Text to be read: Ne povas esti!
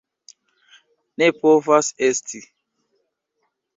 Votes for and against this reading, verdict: 2, 0, accepted